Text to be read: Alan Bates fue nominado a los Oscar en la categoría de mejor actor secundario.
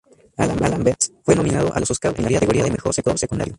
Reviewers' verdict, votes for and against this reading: rejected, 2, 2